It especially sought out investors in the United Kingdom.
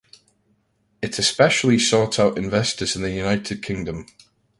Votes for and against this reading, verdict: 1, 2, rejected